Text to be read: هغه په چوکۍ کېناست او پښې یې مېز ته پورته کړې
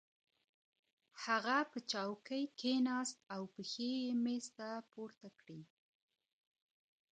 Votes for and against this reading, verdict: 2, 0, accepted